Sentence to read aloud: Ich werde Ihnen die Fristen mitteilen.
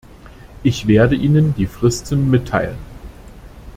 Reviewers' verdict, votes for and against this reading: accepted, 2, 0